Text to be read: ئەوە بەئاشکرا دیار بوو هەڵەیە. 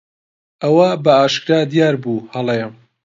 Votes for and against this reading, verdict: 2, 0, accepted